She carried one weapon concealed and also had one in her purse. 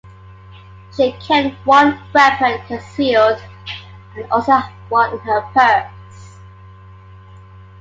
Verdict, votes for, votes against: accepted, 2, 0